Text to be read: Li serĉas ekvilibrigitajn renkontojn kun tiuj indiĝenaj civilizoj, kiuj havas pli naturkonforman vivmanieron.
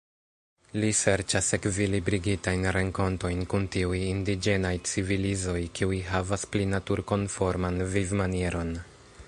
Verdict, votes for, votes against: rejected, 1, 2